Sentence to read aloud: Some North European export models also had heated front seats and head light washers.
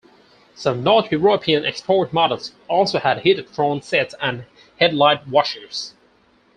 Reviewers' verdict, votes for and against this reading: rejected, 0, 4